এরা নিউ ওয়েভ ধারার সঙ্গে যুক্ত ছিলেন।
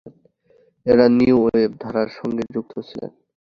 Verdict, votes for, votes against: rejected, 0, 2